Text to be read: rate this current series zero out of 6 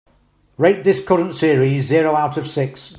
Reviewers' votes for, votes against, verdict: 0, 2, rejected